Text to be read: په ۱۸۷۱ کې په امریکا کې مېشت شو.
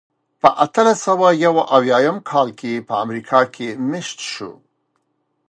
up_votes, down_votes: 0, 2